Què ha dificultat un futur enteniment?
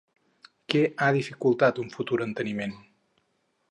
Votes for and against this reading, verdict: 2, 2, rejected